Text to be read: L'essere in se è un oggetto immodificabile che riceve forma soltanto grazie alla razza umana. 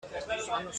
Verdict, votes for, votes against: rejected, 0, 2